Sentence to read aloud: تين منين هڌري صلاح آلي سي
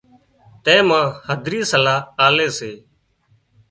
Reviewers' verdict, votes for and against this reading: rejected, 0, 2